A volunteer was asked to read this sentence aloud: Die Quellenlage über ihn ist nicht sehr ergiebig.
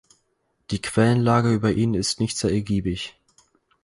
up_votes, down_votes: 4, 0